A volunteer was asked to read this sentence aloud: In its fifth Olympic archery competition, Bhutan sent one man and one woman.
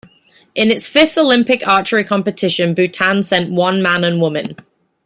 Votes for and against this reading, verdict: 0, 2, rejected